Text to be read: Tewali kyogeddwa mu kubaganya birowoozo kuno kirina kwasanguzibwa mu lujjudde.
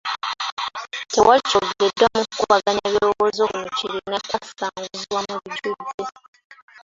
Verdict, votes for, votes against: rejected, 0, 2